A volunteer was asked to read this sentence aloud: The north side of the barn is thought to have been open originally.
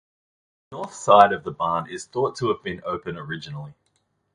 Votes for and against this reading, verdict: 0, 2, rejected